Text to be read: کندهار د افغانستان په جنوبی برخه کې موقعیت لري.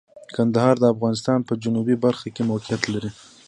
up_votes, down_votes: 2, 0